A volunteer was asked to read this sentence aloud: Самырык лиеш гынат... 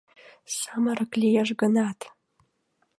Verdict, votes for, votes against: accepted, 2, 0